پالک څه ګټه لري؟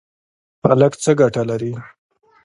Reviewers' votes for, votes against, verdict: 2, 0, accepted